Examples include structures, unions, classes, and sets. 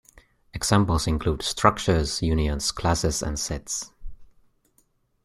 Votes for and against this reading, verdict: 3, 0, accepted